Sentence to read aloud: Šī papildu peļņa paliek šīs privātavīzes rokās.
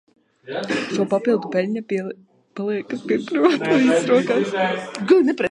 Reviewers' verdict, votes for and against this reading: rejected, 0, 2